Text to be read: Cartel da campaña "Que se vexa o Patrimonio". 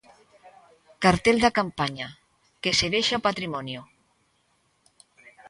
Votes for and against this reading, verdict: 2, 0, accepted